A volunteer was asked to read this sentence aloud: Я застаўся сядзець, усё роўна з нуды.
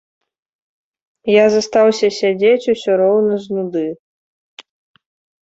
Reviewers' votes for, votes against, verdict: 2, 0, accepted